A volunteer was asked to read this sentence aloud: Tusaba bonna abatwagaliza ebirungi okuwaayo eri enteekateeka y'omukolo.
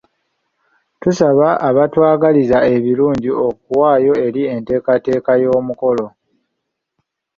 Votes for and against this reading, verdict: 0, 2, rejected